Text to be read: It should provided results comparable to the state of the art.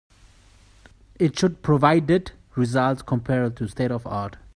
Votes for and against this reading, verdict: 2, 1, accepted